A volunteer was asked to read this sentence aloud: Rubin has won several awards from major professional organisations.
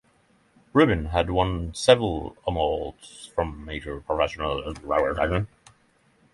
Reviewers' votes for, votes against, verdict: 0, 6, rejected